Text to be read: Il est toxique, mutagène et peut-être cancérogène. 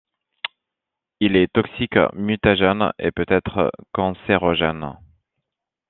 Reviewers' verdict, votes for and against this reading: accepted, 2, 0